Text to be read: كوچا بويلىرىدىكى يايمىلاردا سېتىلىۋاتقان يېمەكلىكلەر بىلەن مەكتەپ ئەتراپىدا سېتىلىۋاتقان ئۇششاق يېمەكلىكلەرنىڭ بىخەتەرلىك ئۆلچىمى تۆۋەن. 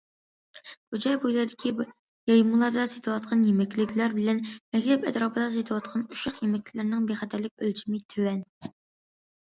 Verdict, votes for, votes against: rejected, 0, 2